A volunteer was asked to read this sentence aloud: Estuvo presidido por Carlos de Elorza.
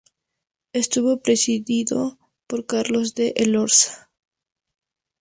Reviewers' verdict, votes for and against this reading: accepted, 2, 0